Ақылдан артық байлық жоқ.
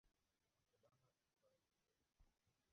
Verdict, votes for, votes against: rejected, 0, 2